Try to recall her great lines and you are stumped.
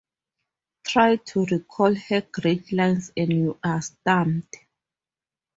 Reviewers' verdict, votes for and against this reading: accepted, 2, 0